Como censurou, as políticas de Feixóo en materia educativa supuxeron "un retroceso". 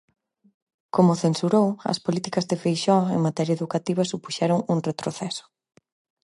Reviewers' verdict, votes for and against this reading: accepted, 4, 0